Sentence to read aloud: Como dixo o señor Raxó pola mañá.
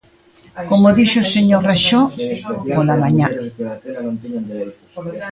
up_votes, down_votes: 1, 2